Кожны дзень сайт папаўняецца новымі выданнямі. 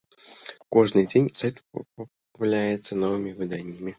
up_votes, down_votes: 0, 2